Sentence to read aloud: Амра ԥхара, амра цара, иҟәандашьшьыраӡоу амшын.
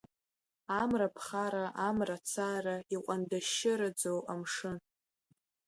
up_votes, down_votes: 2, 0